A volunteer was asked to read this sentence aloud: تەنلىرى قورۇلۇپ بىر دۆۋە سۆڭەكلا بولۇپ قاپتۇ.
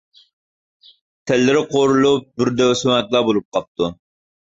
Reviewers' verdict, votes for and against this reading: rejected, 0, 2